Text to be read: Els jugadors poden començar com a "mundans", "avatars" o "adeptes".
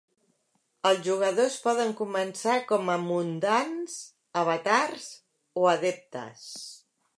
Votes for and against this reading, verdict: 2, 0, accepted